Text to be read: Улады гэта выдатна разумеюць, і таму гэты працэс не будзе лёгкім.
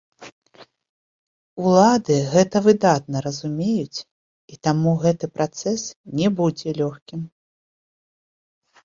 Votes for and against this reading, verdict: 0, 2, rejected